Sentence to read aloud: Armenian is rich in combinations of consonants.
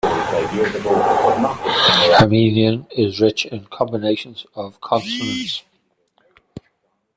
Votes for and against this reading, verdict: 0, 2, rejected